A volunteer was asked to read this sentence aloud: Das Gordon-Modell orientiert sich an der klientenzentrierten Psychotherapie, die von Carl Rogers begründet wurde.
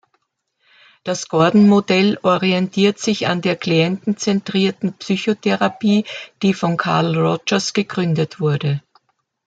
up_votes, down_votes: 0, 2